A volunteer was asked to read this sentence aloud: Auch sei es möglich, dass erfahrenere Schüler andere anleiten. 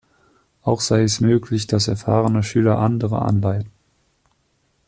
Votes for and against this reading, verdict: 0, 2, rejected